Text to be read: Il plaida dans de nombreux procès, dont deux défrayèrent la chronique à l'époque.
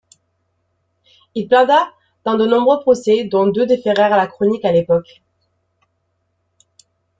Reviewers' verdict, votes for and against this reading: rejected, 1, 2